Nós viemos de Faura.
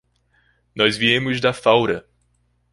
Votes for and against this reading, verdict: 1, 2, rejected